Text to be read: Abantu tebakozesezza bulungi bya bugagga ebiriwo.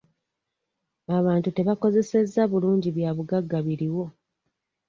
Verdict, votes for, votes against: rejected, 0, 2